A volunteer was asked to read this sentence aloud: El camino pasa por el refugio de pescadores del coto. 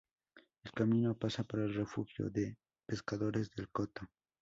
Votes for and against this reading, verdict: 2, 0, accepted